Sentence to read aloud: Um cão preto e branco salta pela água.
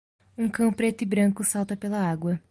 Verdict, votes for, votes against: accepted, 2, 0